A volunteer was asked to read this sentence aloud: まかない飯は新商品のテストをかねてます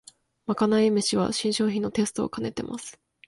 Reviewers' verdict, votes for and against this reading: accepted, 2, 0